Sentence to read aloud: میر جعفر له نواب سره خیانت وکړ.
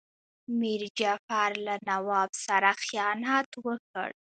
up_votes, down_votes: 0, 2